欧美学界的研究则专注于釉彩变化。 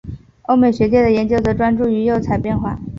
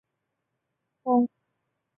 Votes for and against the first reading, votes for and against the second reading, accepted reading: 4, 2, 4, 7, first